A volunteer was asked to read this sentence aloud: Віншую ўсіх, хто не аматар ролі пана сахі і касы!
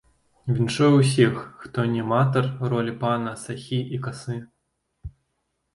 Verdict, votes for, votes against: accepted, 2, 1